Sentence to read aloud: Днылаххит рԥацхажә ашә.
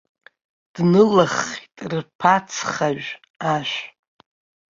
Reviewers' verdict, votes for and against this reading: rejected, 0, 2